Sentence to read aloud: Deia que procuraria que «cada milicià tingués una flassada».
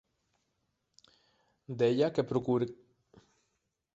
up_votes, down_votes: 0, 2